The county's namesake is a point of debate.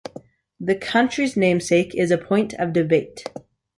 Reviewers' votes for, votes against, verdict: 2, 0, accepted